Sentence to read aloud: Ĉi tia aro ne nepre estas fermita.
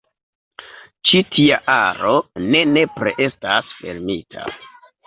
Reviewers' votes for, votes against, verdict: 2, 1, accepted